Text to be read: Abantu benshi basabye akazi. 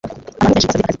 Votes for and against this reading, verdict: 0, 2, rejected